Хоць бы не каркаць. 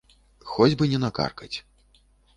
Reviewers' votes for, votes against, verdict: 0, 2, rejected